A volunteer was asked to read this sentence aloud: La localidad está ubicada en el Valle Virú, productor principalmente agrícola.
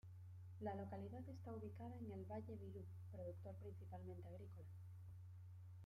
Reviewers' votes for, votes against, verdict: 2, 0, accepted